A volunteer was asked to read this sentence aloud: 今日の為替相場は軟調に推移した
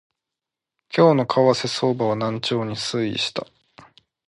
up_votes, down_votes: 2, 0